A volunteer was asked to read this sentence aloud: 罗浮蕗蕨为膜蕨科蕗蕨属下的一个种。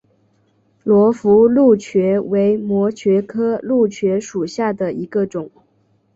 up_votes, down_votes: 3, 0